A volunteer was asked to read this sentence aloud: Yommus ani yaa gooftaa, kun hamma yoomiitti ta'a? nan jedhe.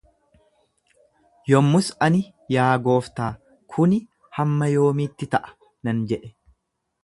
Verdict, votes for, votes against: rejected, 0, 2